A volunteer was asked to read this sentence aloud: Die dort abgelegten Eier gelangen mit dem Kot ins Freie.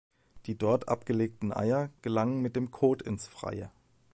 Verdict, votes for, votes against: accepted, 2, 0